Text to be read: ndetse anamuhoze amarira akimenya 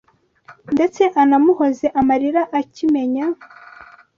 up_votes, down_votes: 2, 0